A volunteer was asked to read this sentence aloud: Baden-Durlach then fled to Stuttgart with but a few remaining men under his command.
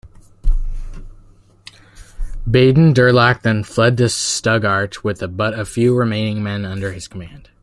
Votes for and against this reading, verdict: 1, 2, rejected